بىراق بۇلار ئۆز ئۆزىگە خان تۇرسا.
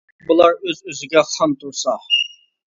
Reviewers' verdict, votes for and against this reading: rejected, 0, 2